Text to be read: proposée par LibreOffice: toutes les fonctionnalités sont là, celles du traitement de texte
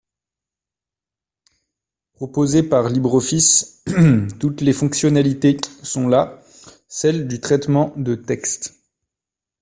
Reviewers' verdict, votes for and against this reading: accepted, 2, 1